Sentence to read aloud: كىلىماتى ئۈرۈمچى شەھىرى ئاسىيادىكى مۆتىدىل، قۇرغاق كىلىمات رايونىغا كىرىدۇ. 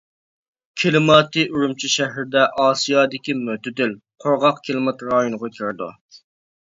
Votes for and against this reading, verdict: 0, 2, rejected